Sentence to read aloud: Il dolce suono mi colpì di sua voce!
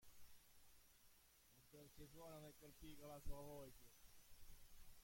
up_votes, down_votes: 0, 2